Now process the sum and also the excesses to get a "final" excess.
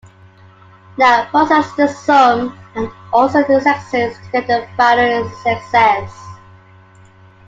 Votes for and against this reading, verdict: 1, 2, rejected